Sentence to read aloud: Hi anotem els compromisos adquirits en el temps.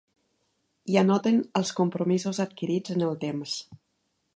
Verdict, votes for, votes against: rejected, 1, 2